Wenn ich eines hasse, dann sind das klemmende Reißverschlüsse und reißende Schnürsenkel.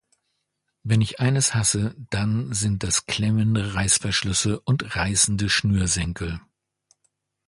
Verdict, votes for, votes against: accepted, 2, 0